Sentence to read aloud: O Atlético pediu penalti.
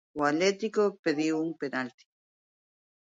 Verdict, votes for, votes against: rejected, 0, 2